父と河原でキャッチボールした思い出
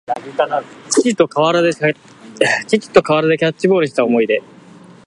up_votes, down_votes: 0, 2